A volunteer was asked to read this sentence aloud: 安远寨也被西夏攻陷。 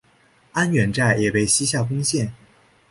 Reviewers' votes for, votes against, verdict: 5, 0, accepted